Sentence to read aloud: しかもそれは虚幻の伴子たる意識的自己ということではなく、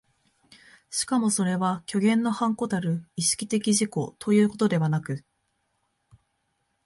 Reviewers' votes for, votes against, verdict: 2, 1, accepted